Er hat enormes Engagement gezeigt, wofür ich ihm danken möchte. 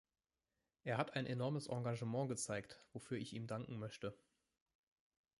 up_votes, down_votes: 2, 0